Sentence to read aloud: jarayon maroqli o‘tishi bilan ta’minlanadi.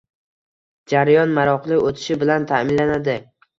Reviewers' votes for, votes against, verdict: 2, 1, accepted